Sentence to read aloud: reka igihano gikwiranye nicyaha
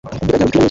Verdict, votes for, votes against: rejected, 0, 2